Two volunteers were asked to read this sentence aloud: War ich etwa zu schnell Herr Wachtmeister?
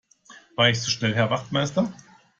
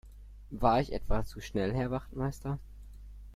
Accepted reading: second